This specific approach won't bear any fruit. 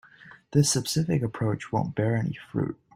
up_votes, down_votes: 0, 2